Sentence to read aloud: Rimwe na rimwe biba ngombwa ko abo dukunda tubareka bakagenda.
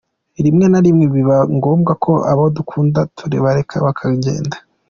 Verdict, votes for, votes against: accepted, 2, 1